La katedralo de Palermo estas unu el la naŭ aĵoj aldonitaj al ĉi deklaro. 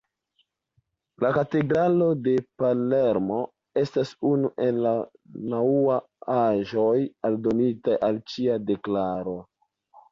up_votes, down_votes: 1, 2